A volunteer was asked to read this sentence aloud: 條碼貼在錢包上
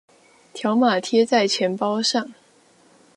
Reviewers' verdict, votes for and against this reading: accepted, 2, 0